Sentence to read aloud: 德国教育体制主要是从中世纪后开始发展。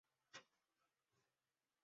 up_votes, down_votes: 0, 2